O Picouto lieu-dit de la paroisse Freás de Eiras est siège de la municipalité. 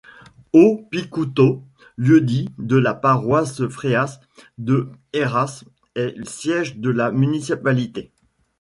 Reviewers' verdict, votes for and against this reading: rejected, 1, 2